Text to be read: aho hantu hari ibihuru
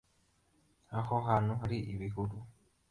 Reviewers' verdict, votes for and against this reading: accepted, 2, 1